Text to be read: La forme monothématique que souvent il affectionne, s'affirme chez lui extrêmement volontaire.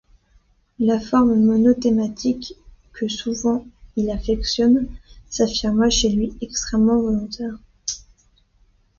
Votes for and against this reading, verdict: 0, 2, rejected